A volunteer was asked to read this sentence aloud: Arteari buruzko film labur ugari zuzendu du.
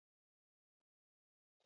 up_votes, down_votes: 0, 8